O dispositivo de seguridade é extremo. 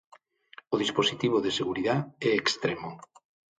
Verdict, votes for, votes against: rejected, 0, 6